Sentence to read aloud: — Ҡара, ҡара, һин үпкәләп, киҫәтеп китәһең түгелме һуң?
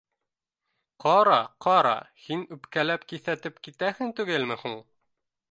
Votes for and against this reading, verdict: 2, 0, accepted